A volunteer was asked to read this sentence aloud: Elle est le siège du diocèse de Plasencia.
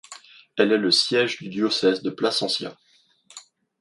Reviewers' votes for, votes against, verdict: 2, 0, accepted